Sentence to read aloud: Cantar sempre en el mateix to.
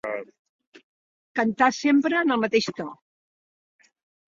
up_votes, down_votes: 2, 1